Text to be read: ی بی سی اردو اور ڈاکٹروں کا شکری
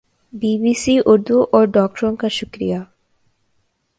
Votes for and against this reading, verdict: 2, 0, accepted